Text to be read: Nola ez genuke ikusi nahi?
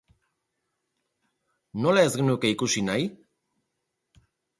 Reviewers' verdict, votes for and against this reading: rejected, 2, 2